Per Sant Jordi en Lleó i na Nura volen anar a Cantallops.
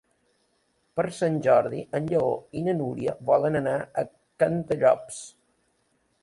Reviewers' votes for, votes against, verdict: 0, 2, rejected